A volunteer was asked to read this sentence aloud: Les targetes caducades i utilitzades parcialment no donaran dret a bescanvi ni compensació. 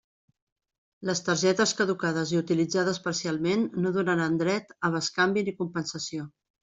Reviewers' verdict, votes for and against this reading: accepted, 2, 0